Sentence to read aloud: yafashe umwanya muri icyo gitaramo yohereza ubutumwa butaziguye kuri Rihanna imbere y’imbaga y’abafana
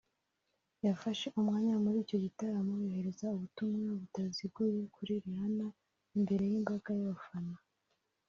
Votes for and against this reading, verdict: 1, 2, rejected